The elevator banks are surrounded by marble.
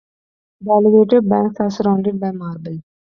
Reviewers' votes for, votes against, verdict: 1, 2, rejected